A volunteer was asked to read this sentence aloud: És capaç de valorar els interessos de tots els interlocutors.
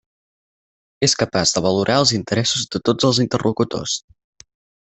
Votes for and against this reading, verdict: 4, 0, accepted